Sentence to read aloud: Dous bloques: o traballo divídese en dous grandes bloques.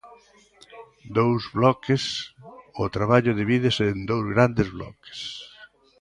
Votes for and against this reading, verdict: 3, 0, accepted